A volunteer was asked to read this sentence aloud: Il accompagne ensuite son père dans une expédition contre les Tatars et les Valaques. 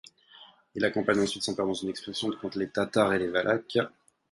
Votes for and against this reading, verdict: 0, 4, rejected